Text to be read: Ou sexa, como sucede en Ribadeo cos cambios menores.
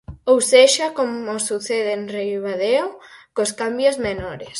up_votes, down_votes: 4, 0